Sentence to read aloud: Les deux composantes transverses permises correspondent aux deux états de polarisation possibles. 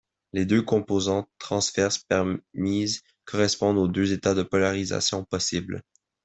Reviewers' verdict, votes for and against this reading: rejected, 1, 2